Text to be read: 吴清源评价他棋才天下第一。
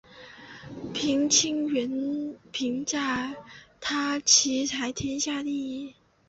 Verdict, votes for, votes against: rejected, 0, 2